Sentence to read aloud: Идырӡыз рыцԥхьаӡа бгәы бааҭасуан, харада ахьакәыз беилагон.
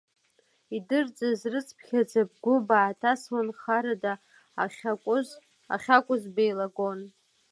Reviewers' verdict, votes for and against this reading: rejected, 0, 2